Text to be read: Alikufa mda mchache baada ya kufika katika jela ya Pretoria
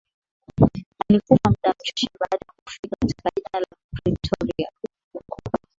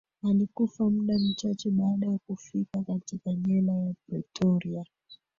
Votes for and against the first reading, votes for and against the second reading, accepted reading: 3, 0, 1, 2, first